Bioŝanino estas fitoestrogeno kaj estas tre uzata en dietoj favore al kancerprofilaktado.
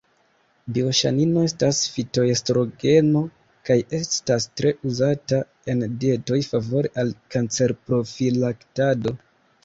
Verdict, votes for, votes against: rejected, 0, 2